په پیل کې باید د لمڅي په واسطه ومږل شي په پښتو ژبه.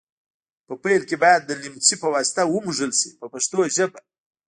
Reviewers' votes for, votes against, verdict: 1, 2, rejected